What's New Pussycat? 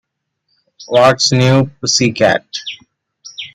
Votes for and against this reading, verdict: 2, 0, accepted